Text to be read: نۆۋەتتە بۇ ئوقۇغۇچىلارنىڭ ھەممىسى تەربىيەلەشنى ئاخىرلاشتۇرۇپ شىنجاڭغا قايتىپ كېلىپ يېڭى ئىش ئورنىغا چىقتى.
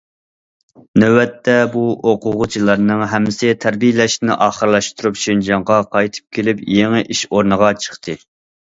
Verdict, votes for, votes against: rejected, 1, 2